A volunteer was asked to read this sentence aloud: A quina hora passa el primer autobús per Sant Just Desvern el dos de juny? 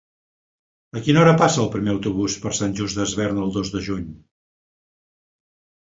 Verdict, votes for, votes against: accepted, 4, 0